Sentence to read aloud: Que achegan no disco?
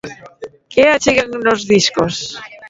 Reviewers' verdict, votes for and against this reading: rejected, 0, 3